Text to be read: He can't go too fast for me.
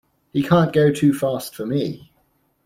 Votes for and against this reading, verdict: 2, 0, accepted